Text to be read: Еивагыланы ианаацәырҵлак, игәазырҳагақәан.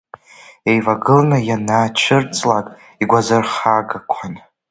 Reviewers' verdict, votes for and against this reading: accepted, 2, 1